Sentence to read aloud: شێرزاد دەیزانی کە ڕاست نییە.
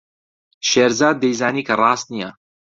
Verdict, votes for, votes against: accepted, 2, 0